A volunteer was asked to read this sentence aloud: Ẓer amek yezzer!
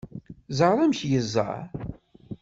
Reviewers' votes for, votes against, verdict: 1, 2, rejected